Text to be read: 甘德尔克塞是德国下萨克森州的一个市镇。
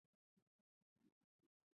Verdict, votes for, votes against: rejected, 0, 2